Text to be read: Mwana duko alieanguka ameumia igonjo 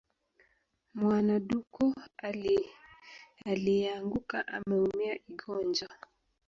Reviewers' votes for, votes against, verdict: 2, 3, rejected